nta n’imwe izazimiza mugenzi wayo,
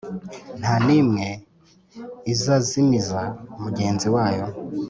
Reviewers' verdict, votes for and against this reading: accepted, 3, 0